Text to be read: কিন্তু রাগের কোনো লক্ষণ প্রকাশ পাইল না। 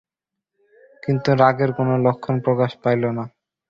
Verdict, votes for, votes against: accepted, 2, 0